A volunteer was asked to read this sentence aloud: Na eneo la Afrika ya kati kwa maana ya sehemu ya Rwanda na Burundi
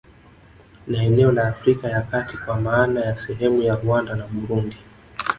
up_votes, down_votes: 0, 2